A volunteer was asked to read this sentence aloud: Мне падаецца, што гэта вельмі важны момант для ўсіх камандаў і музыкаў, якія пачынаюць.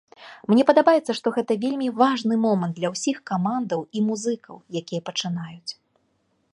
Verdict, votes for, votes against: rejected, 1, 2